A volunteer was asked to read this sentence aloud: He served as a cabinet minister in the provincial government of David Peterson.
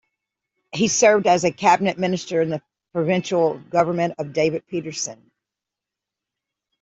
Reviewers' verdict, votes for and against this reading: accepted, 2, 0